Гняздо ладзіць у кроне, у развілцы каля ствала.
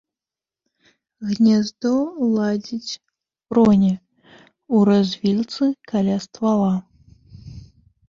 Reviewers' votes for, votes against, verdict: 0, 2, rejected